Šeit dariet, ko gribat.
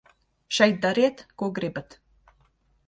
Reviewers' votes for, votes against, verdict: 2, 0, accepted